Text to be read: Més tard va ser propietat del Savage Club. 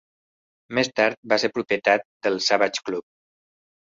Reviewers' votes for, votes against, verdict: 3, 0, accepted